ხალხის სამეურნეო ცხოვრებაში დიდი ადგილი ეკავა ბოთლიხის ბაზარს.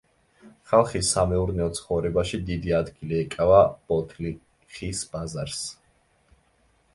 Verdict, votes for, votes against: rejected, 1, 2